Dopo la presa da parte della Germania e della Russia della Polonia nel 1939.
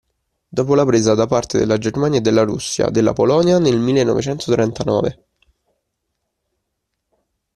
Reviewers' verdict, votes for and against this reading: rejected, 0, 2